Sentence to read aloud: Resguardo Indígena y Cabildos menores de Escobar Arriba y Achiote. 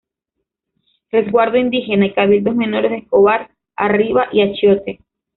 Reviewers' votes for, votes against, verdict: 1, 2, rejected